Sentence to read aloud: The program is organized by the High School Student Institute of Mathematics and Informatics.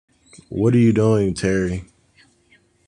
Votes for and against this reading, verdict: 0, 2, rejected